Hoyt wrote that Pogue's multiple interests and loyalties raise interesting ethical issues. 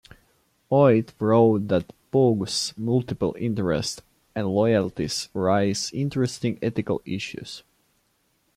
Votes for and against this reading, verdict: 2, 0, accepted